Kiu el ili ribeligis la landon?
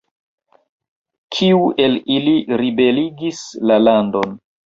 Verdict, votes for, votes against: accepted, 2, 1